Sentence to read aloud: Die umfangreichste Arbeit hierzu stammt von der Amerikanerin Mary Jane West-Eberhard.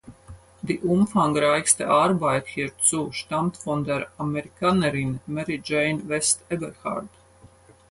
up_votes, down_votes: 4, 0